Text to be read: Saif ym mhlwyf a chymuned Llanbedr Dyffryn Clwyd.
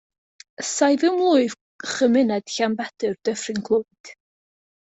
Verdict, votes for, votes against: rejected, 1, 2